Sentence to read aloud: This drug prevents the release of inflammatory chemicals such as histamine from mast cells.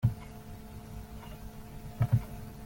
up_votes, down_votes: 0, 2